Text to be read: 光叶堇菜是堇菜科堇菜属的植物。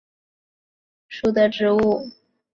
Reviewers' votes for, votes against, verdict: 0, 2, rejected